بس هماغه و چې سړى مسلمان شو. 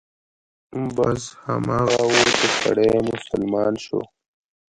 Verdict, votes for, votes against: rejected, 1, 2